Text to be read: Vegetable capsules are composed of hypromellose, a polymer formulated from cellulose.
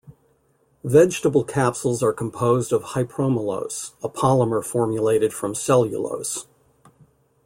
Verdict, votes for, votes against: accepted, 2, 0